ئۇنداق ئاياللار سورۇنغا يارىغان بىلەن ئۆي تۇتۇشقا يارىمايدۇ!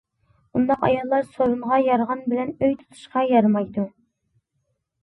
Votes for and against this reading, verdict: 2, 0, accepted